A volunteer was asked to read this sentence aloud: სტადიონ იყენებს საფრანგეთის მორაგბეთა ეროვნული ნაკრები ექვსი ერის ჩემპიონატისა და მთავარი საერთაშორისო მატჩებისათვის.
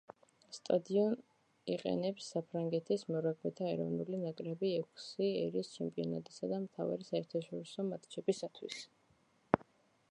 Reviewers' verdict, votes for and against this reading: rejected, 0, 2